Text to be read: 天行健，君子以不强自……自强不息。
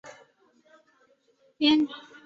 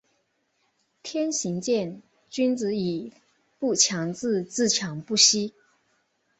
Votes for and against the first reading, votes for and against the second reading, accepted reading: 1, 2, 2, 0, second